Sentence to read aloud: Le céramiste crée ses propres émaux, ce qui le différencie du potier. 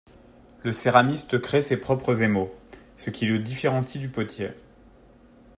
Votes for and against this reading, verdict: 2, 0, accepted